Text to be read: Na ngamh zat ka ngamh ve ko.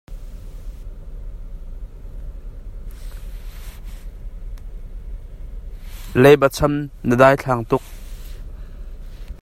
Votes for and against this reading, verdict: 0, 2, rejected